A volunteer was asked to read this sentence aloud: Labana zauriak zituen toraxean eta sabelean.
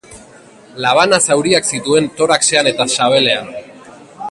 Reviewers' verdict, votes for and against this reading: accepted, 2, 0